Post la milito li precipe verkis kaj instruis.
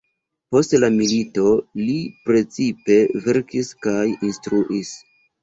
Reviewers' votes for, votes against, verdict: 2, 1, accepted